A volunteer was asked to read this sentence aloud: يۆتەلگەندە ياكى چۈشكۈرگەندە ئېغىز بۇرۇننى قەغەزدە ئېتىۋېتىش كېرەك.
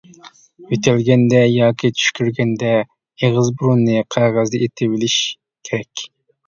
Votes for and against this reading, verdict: 0, 2, rejected